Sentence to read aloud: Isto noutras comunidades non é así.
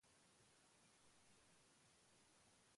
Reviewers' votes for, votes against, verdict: 0, 2, rejected